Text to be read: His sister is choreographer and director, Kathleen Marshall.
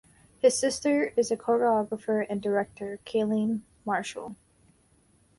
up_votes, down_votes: 0, 2